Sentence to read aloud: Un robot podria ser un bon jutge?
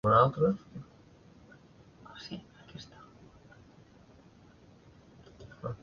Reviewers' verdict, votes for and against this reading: rejected, 0, 2